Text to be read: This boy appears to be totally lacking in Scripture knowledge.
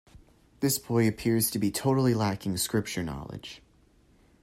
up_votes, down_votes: 1, 2